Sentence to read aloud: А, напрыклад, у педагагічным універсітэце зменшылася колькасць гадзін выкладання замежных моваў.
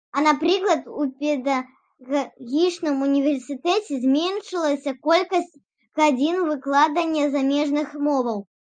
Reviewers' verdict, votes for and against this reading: rejected, 0, 2